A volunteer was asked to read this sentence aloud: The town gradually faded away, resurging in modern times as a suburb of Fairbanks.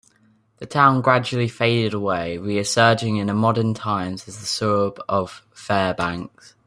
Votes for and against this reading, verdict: 1, 2, rejected